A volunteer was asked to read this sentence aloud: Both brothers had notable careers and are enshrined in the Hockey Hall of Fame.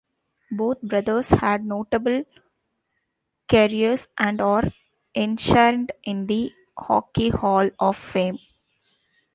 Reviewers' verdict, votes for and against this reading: rejected, 1, 2